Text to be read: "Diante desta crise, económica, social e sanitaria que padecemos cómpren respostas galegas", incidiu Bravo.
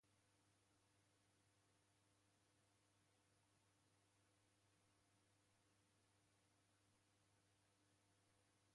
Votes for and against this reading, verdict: 0, 2, rejected